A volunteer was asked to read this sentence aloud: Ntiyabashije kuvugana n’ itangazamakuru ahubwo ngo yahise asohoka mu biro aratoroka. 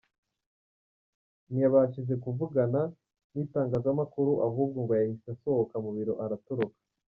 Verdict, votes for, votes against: rejected, 1, 2